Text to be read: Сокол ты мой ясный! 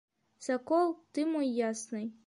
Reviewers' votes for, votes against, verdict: 1, 2, rejected